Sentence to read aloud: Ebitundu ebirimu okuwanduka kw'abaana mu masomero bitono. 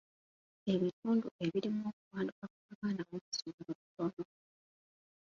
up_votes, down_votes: 1, 2